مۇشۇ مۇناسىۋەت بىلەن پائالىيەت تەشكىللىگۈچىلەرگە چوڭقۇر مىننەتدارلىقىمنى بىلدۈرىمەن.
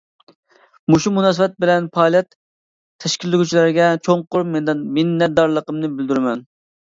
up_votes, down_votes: 0, 2